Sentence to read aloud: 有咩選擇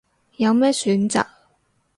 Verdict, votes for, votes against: accepted, 2, 0